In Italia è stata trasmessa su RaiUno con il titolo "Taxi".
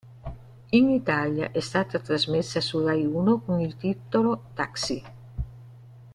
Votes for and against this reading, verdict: 0, 2, rejected